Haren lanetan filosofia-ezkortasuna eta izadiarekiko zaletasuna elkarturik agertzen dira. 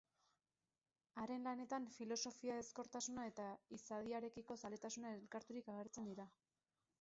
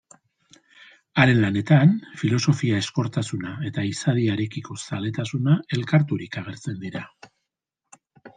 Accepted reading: second